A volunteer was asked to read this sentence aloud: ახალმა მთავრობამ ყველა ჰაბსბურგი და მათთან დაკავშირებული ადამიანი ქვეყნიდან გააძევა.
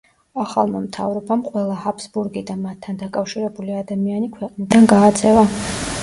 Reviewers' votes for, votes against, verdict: 0, 2, rejected